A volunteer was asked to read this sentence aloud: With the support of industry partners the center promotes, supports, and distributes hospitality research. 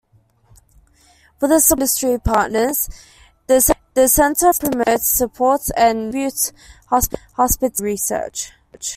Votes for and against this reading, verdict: 1, 2, rejected